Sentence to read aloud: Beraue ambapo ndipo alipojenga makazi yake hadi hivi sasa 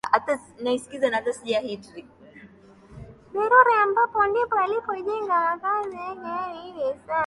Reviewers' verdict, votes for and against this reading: rejected, 1, 2